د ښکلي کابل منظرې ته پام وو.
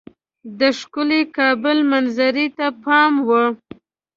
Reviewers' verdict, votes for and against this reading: accepted, 2, 0